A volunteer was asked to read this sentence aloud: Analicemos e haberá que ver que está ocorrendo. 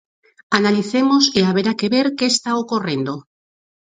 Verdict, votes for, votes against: accepted, 4, 0